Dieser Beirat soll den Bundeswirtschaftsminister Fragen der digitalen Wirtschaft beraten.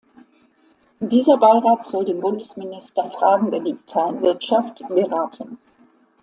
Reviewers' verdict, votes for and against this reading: rejected, 0, 2